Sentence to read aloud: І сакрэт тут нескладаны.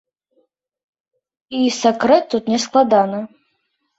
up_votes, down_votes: 2, 0